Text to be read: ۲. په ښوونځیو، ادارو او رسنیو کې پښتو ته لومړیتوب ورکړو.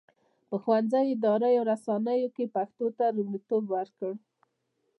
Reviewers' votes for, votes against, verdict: 0, 2, rejected